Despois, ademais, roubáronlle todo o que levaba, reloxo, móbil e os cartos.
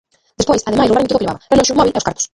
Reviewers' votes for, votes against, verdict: 0, 2, rejected